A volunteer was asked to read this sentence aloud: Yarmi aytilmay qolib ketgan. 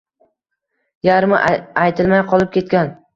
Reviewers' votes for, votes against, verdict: 2, 1, accepted